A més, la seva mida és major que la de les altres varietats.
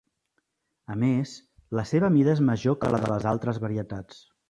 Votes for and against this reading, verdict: 3, 1, accepted